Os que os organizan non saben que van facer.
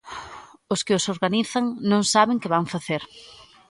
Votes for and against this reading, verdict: 2, 0, accepted